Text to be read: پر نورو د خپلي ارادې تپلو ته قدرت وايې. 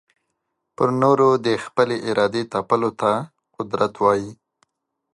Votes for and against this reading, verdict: 2, 1, accepted